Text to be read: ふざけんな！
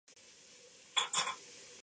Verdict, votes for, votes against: rejected, 0, 2